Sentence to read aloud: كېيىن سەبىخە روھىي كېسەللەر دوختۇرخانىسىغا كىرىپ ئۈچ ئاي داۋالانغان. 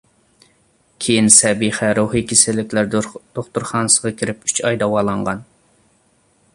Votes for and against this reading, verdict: 0, 2, rejected